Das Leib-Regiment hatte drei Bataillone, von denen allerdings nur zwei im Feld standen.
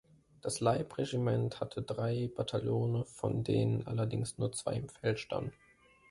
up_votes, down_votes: 0, 2